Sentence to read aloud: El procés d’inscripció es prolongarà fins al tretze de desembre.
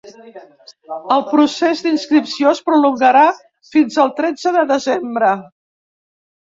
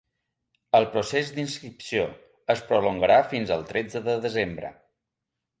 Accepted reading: second